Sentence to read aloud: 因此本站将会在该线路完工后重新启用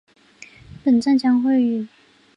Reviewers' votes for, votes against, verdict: 0, 2, rejected